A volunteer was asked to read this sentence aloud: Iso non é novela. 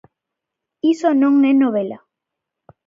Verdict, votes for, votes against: accepted, 2, 0